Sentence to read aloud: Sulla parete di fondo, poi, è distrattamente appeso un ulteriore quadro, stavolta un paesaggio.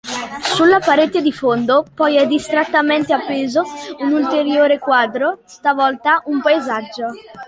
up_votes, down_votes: 2, 0